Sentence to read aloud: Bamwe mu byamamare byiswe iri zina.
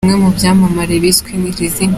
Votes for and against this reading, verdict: 3, 0, accepted